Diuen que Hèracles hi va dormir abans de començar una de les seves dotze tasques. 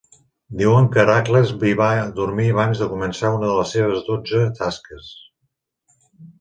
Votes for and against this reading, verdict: 0, 2, rejected